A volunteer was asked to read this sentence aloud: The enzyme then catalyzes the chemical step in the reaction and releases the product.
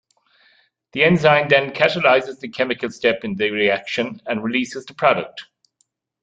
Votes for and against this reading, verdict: 2, 0, accepted